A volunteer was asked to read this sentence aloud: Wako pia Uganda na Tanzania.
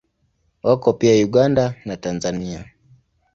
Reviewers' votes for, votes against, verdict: 2, 0, accepted